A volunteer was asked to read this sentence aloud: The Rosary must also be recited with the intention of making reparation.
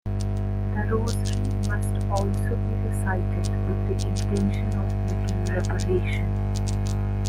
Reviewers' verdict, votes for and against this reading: accepted, 2, 0